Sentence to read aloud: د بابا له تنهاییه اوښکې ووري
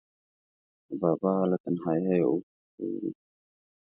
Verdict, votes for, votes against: accepted, 2, 1